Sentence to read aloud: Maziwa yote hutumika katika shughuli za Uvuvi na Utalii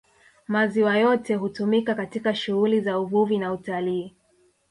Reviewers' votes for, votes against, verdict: 0, 2, rejected